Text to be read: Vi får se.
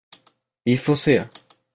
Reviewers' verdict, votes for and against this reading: accepted, 2, 0